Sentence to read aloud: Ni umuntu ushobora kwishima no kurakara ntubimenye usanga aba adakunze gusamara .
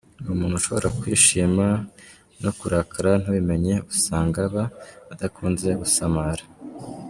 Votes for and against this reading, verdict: 2, 0, accepted